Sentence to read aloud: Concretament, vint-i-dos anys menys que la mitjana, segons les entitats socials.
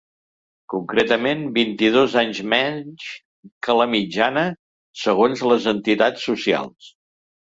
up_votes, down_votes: 3, 0